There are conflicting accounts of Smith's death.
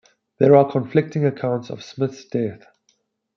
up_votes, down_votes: 2, 0